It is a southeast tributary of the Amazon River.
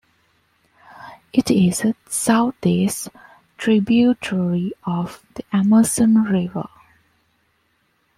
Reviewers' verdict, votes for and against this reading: rejected, 0, 2